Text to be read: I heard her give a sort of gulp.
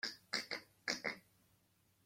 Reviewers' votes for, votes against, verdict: 0, 2, rejected